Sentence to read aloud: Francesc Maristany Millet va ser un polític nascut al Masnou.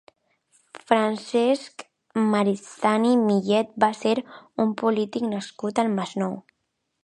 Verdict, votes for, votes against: rejected, 1, 2